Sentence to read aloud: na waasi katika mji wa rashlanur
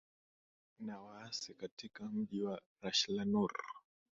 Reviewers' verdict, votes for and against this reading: accepted, 3, 1